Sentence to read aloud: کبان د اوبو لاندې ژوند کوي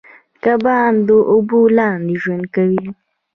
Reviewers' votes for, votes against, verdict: 0, 2, rejected